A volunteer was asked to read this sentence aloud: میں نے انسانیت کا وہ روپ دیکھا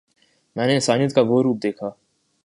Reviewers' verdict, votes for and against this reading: accepted, 2, 1